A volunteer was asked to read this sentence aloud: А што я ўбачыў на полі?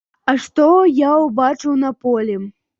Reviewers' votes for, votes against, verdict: 2, 0, accepted